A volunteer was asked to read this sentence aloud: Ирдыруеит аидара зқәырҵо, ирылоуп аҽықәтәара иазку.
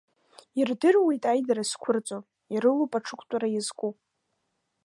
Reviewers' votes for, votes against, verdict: 2, 0, accepted